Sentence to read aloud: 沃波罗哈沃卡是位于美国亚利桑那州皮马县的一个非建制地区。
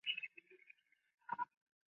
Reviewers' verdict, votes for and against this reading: rejected, 2, 5